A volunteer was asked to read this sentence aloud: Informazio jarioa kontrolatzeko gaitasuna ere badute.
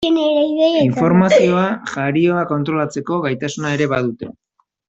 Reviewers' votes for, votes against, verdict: 0, 2, rejected